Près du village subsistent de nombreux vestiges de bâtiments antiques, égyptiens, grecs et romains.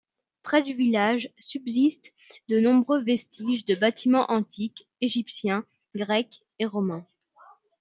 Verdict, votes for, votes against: accepted, 2, 0